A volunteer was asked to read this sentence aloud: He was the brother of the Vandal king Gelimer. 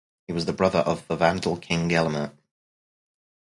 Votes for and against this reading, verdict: 2, 0, accepted